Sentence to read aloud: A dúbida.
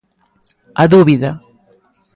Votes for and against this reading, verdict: 2, 0, accepted